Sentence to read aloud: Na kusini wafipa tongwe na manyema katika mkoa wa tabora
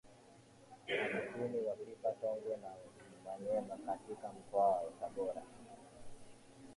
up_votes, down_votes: 0, 2